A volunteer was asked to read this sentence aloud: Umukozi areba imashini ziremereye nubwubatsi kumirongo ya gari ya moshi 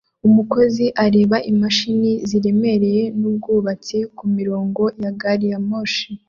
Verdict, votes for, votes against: accepted, 3, 0